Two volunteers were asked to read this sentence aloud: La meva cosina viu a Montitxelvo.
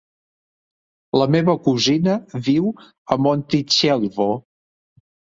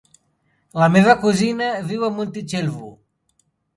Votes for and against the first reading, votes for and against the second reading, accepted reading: 1, 2, 2, 0, second